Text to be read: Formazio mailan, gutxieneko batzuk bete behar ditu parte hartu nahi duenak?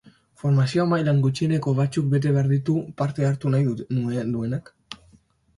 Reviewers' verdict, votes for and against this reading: rejected, 0, 2